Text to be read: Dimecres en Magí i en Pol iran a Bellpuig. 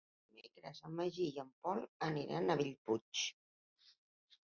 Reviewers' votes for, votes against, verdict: 1, 2, rejected